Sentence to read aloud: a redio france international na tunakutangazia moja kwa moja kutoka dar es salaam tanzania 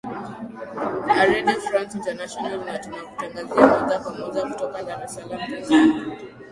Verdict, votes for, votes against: rejected, 2, 3